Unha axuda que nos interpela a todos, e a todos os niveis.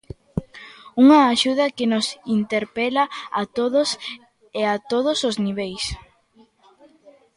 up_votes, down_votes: 2, 1